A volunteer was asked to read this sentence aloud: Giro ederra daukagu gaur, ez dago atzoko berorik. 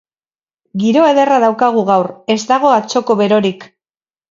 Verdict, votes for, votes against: rejected, 2, 2